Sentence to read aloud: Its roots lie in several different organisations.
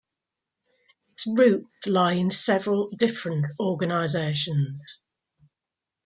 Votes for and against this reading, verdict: 2, 0, accepted